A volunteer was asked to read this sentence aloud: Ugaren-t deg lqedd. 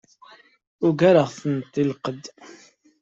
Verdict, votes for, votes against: accepted, 2, 0